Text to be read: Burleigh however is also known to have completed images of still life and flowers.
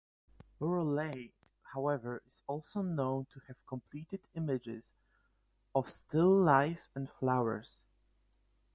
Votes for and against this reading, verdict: 4, 0, accepted